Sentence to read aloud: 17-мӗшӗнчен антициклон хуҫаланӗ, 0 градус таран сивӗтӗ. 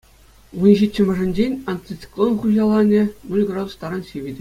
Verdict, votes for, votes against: rejected, 0, 2